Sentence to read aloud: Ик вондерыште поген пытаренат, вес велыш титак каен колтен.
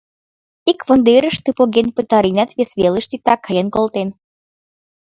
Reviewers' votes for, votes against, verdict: 1, 2, rejected